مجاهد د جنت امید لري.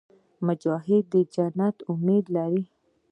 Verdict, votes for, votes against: accepted, 2, 0